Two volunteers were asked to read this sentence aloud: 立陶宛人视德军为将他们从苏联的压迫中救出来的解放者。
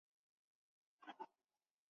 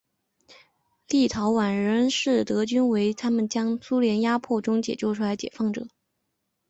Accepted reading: second